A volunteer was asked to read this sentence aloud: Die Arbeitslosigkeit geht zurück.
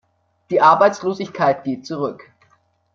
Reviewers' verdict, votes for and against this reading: accepted, 2, 0